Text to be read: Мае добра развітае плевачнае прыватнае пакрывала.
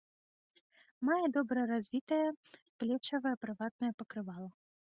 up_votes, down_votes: 1, 2